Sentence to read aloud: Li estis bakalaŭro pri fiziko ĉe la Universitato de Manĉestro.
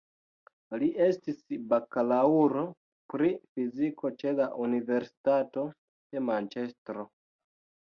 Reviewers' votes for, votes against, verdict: 2, 1, accepted